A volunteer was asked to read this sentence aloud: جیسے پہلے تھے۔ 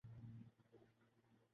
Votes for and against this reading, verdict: 0, 2, rejected